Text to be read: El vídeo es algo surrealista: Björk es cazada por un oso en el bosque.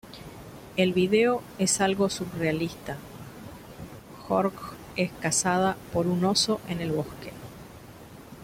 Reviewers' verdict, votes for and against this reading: rejected, 0, 2